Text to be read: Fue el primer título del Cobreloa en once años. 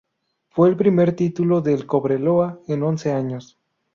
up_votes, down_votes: 2, 0